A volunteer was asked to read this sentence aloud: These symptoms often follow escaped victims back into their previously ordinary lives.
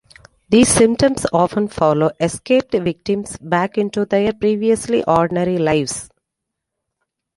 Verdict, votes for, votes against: accepted, 2, 0